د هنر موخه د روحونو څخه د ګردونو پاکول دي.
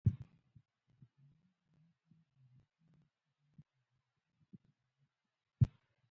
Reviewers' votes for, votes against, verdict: 0, 2, rejected